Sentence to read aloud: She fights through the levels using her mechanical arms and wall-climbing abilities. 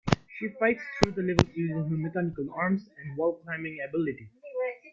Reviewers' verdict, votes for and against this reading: rejected, 0, 2